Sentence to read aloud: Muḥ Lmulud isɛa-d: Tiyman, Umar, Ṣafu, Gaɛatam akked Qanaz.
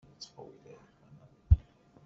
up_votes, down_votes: 0, 2